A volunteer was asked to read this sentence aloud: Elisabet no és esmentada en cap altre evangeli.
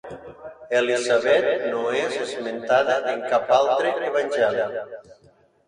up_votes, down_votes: 2, 0